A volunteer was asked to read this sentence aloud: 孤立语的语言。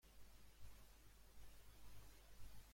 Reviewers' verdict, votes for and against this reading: rejected, 1, 2